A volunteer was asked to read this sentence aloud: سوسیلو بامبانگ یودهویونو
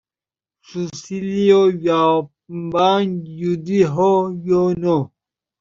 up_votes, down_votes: 1, 2